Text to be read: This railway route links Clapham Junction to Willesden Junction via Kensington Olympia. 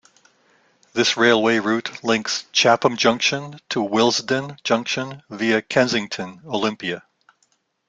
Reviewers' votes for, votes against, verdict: 0, 2, rejected